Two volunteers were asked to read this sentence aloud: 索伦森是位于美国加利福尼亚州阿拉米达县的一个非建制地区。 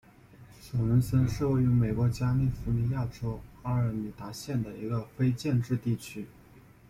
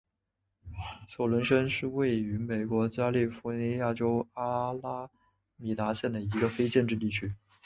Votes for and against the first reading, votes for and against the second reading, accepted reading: 1, 2, 5, 0, second